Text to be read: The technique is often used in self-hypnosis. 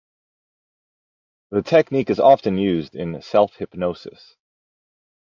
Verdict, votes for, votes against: accepted, 2, 0